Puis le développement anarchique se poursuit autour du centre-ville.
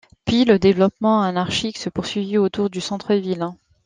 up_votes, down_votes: 1, 2